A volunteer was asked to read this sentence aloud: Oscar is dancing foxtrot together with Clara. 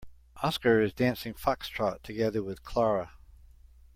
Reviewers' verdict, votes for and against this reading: accepted, 2, 0